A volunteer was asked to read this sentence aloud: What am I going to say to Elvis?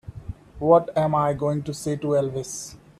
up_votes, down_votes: 2, 0